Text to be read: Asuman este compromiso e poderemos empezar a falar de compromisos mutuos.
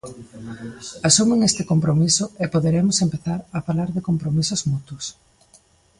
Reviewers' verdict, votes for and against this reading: accepted, 2, 1